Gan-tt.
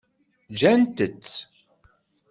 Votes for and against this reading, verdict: 1, 2, rejected